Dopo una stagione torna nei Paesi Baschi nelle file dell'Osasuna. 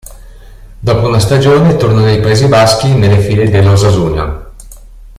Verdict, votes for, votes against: accepted, 2, 0